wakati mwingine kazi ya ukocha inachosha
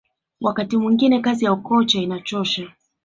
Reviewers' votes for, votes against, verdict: 2, 0, accepted